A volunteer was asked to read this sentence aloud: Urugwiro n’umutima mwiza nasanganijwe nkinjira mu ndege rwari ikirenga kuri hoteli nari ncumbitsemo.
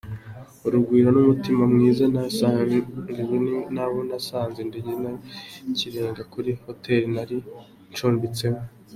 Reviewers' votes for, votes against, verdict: 1, 3, rejected